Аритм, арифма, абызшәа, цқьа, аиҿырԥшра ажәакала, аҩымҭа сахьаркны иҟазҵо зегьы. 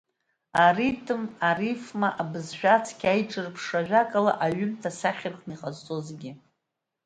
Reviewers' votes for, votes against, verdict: 2, 0, accepted